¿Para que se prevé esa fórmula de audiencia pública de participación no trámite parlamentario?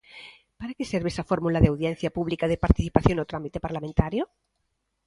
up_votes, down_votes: 1, 2